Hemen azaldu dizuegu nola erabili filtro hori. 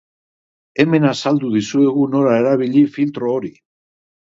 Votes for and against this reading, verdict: 2, 0, accepted